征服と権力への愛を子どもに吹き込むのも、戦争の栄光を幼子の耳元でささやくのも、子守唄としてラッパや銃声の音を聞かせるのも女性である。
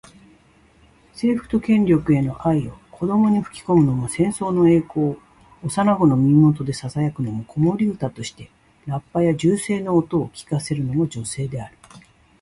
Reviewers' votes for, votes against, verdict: 2, 0, accepted